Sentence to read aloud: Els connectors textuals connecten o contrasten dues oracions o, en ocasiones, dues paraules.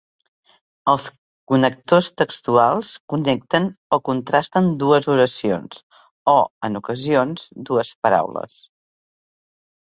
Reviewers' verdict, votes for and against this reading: rejected, 1, 2